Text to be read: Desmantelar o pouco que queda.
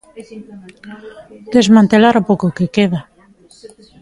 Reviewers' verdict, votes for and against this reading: accepted, 2, 1